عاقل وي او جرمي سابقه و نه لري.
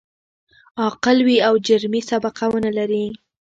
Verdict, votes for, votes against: accepted, 2, 0